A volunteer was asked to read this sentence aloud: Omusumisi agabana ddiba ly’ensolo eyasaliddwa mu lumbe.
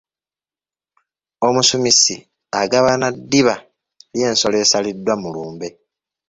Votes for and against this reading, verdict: 2, 0, accepted